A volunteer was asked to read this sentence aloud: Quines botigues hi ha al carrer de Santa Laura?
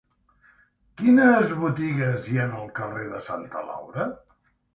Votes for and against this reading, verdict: 1, 2, rejected